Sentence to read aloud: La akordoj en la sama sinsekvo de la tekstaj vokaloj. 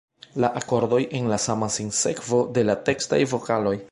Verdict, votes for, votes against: accepted, 2, 1